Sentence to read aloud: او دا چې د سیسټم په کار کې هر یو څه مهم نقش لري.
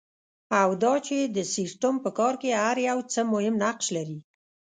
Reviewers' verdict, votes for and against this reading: accepted, 2, 0